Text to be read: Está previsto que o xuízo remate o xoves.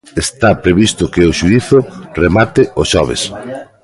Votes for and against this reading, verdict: 1, 2, rejected